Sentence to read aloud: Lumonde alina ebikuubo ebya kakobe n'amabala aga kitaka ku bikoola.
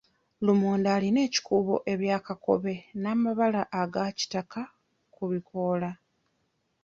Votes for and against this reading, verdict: 1, 2, rejected